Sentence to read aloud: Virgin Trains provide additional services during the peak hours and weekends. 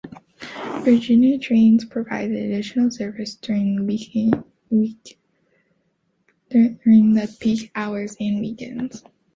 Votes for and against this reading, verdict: 1, 2, rejected